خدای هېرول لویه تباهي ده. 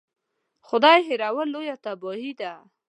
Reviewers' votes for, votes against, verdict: 2, 0, accepted